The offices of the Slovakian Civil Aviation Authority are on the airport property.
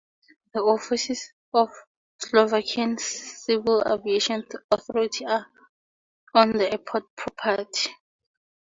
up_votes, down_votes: 2, 0